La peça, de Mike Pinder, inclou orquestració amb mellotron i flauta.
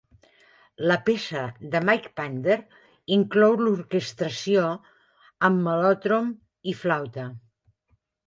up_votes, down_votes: 1, 2